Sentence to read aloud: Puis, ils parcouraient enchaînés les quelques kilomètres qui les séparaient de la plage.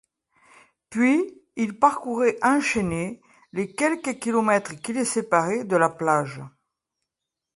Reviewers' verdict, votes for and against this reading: accepted, 2, 0